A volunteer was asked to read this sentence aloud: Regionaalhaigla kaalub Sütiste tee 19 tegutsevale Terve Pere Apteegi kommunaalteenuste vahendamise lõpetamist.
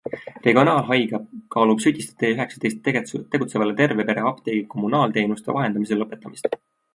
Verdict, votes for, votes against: rejected, 0, 2